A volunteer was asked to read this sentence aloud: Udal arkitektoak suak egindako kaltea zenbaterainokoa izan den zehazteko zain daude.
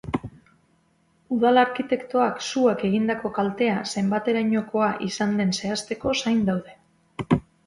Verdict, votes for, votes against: accepted, 3, 0